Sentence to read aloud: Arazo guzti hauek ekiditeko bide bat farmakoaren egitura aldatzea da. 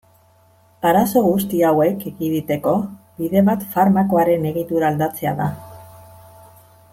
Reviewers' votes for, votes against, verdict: 2, 0, accepted